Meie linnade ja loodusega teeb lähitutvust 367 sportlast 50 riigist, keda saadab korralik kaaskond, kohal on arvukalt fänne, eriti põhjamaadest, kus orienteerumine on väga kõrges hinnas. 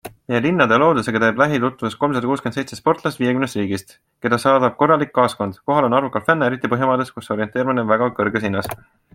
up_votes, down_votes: 0, 2